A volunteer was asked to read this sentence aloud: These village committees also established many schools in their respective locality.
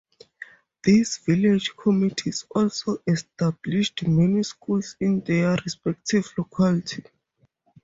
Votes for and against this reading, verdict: 4, 2, accepted